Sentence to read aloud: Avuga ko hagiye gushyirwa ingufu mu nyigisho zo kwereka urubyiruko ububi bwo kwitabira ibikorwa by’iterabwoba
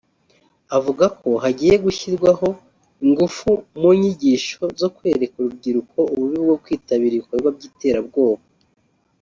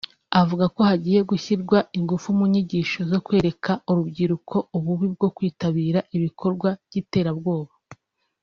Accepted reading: second